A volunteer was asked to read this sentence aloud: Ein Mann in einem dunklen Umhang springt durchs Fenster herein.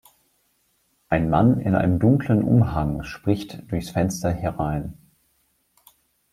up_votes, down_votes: 0, 2